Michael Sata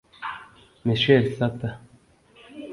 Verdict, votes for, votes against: rejected, 1, 2